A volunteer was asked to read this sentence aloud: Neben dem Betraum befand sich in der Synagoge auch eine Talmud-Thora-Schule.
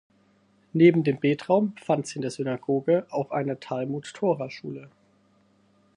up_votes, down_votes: 2, 4